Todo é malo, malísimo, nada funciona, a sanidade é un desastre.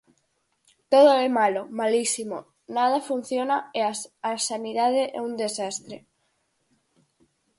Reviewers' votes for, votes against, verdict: 0, 4, rejected